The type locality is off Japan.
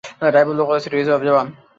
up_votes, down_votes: 0, 2